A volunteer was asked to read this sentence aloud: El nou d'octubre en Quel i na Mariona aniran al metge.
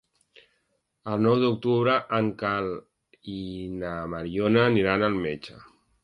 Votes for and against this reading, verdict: 1, 2, rejected